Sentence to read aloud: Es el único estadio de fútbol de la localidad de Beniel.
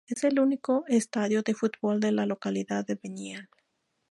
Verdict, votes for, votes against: rejected, 2, 2